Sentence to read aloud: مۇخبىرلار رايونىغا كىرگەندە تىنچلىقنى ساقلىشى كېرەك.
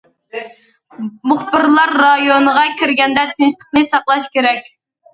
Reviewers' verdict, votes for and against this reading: rejected, 0, 2